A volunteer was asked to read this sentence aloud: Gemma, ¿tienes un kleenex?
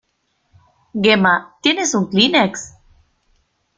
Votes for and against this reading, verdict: 2, 0, accepted